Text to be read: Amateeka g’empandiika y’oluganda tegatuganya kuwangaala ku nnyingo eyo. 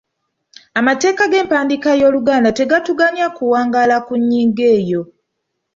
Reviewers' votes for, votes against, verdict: 2, 0, accepted